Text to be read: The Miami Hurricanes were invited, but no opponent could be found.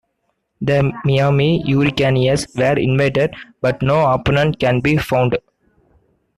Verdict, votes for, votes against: rejected, 1, 2